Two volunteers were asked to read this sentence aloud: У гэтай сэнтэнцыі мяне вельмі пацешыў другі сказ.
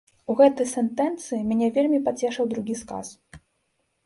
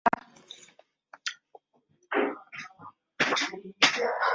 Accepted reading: first